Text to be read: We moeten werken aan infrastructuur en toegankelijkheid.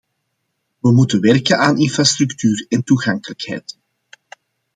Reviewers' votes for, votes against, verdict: 2, 0, accepted